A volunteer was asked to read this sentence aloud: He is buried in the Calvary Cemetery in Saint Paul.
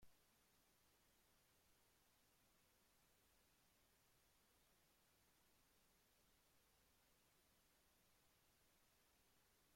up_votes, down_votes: 0, 2